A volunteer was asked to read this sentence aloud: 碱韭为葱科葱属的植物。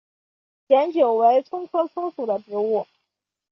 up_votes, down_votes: 4, 1